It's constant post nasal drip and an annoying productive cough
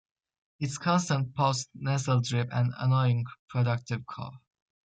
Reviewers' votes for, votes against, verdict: 2, 1, accepted